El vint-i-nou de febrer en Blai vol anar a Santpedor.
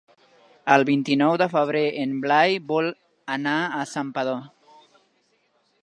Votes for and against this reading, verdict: 3, 0, accepted